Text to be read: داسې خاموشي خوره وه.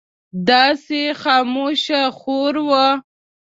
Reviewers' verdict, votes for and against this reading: rejected, 1, 2